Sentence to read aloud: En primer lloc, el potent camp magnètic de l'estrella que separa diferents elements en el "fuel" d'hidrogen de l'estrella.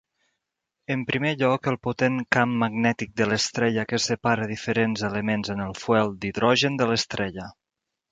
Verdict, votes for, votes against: accepted, 2, 0